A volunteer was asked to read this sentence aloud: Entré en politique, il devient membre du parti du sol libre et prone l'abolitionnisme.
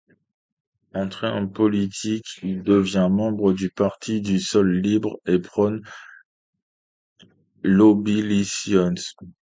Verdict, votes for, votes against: rejected, 0, 2